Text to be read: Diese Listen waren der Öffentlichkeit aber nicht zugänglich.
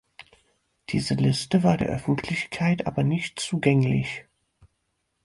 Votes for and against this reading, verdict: 2, 6, rejected